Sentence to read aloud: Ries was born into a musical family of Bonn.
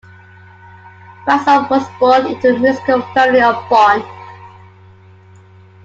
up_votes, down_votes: 2, 0